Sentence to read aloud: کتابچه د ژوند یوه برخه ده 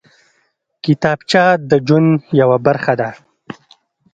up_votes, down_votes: 2, 0